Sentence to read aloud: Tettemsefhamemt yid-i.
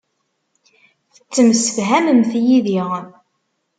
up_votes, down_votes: 2, 0